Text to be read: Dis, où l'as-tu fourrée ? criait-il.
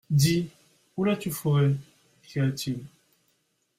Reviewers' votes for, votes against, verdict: 1, 2, rejected